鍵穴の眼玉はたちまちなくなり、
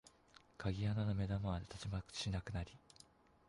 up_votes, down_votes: 2, 1